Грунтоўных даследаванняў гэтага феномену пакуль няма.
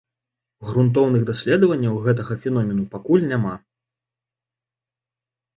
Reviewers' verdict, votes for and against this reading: accepted, 2, 0